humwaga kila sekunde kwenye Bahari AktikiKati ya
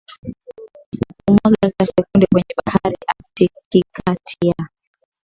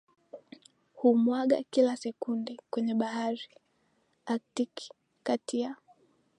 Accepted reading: second